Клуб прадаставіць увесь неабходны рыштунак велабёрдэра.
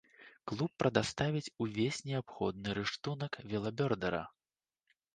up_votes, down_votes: 3, 0